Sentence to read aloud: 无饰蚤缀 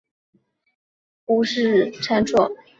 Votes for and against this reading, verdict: 1, 2, rejected